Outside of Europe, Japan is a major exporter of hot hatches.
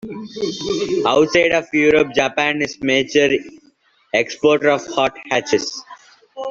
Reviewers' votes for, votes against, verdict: 0, 2, rejected